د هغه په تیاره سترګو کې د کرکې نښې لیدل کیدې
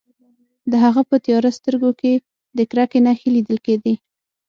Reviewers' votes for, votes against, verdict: 6, 0, accepted